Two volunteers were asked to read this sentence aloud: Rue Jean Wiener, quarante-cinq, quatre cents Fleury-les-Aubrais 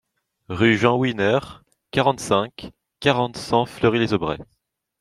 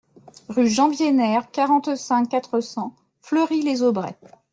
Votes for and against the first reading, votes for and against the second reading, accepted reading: 0, 2, 2, 0, second